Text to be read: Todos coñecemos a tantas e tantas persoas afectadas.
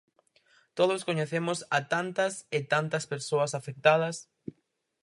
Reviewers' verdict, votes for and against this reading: accepted, 4, 0